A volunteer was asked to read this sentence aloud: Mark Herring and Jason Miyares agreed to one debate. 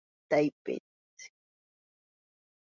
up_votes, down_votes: 0, 3